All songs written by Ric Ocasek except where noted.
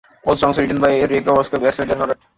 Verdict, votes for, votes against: rejected, 0, 2